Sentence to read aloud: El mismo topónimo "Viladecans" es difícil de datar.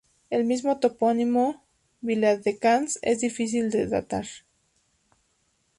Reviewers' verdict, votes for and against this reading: accepted, 2, 0